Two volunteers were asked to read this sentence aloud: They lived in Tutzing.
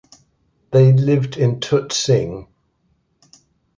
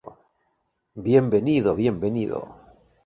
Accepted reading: first